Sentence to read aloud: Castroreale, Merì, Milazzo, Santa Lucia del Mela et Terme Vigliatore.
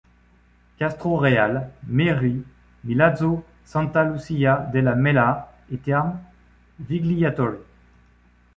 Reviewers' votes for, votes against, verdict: 1, 2, rejected